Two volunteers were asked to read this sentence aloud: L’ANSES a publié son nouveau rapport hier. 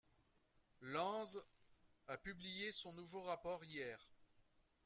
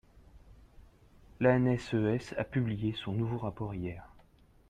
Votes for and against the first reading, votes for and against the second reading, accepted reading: 0, 2, 2, 1, second